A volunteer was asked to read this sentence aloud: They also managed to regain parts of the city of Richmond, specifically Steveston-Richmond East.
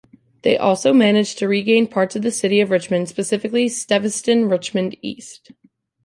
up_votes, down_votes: 0, 2